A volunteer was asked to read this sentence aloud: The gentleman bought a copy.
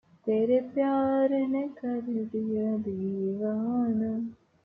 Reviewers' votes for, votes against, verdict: 0, 3, rejected